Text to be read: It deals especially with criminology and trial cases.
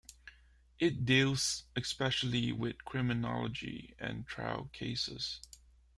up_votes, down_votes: 2, 0